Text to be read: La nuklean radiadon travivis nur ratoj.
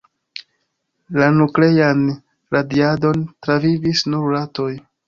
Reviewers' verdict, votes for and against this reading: accepted, 2, 0